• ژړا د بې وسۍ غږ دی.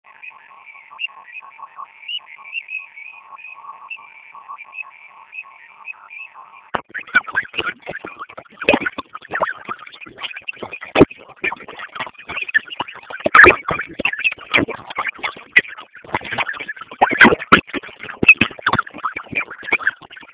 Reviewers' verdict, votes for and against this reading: rejected, 0, 2